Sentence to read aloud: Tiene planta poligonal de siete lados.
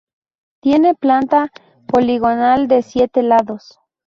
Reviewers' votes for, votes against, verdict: 2, 0, accepted